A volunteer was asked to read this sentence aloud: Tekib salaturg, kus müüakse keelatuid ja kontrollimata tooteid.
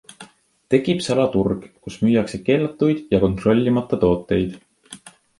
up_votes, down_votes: 2, 0